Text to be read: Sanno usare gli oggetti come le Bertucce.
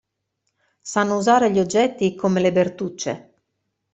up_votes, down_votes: 2, 0